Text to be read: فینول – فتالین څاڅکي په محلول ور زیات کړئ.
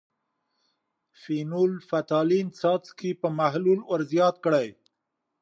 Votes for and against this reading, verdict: 5, 0, accepted